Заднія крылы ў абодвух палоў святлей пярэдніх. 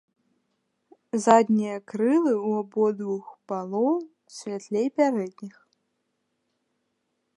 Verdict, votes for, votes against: accepted, 2, 0